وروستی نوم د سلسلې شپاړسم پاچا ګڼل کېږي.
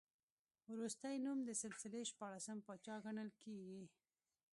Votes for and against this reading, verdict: 2, 1, accepted